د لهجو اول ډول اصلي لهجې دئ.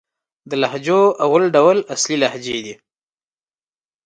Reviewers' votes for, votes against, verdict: 3, 0, accepted